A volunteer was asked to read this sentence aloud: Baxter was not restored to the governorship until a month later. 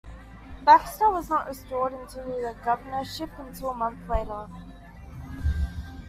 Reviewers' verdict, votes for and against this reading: accepted, 2, 0